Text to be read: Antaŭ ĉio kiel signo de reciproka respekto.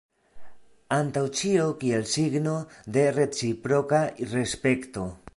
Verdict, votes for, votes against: accepted, 2, 0